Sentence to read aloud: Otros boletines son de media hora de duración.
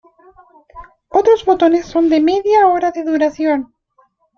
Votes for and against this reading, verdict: 0, 2, rejected